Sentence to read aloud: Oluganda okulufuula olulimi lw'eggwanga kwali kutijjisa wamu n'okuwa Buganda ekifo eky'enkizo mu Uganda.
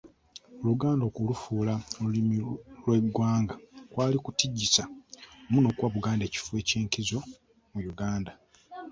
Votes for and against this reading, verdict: 0, 2, rejected